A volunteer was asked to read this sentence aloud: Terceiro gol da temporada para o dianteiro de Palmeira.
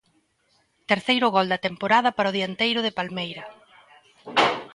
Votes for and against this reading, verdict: 2, 0, accepted